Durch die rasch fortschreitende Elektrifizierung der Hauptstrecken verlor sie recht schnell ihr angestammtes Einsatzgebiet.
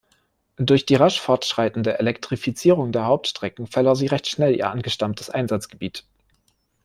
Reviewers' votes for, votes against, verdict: 2, 0, accepted